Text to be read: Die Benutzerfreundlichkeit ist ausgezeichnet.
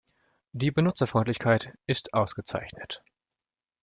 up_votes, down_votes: 2, 0